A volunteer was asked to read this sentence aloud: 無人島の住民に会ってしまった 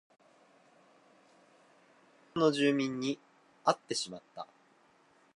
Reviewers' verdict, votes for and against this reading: rejected, 0, 2